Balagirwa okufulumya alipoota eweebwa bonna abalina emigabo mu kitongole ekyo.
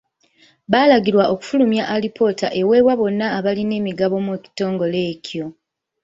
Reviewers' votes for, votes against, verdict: 0, 2, rejected